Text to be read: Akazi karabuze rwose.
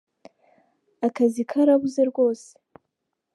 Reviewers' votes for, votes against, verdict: 2, 0, accepted